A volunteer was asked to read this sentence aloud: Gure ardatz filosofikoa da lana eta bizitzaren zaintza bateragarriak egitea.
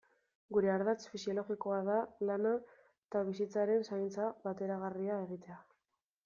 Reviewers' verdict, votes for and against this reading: rejected, 1, 2